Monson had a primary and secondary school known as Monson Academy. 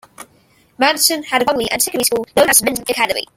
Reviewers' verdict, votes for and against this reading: rejected, 0, 2